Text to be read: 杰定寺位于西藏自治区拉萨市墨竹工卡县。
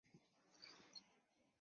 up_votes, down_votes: 4, 6